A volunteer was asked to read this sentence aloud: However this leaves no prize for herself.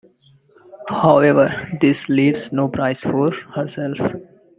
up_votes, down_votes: 2, 0